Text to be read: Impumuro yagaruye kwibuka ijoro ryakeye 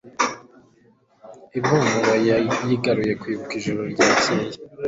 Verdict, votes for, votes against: rejected, 0, 2